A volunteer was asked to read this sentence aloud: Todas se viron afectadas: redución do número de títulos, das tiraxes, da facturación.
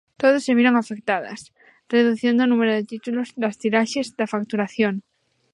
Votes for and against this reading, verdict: 2, 0, accepted